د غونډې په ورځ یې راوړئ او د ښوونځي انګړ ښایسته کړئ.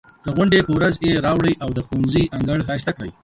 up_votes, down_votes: 3, 2